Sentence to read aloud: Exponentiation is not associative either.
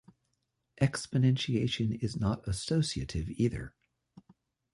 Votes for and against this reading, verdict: 2, 0, accepted